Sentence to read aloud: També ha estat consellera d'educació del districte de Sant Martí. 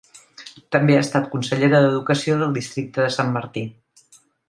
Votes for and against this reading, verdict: 2, 0, accepted